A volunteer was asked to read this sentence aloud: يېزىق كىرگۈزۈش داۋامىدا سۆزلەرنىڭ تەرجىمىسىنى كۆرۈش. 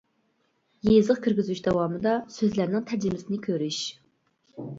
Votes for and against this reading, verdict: 0, 2, rejected